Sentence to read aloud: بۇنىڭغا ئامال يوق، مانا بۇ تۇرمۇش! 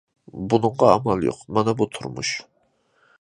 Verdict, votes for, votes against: accepted, 2, 0